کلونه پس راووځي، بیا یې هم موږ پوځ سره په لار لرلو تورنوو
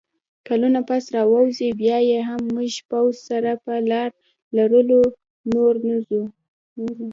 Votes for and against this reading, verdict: 0, 2, rejected